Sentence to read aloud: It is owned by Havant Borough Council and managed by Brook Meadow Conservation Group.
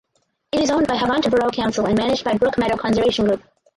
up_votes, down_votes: 2, 4